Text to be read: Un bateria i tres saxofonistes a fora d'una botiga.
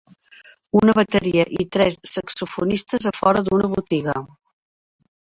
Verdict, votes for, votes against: accepted, 2, 1